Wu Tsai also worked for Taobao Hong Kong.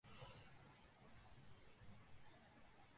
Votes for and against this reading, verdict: 0, 2, rejected